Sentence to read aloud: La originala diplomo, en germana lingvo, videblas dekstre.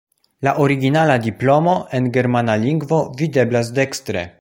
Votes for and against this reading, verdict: 2, 0, accepted